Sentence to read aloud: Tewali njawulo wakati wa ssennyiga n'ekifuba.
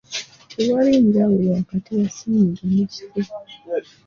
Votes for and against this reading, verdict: 1, 2, rejected